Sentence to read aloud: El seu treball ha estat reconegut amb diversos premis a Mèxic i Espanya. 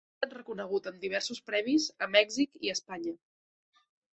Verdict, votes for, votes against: rejected, 0, 2